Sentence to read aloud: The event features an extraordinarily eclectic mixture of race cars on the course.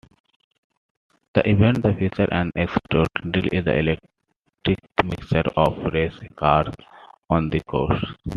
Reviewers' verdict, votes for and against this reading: rejected, 0, 2